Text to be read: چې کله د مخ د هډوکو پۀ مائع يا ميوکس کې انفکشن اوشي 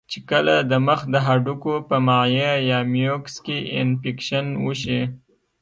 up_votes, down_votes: 2, 0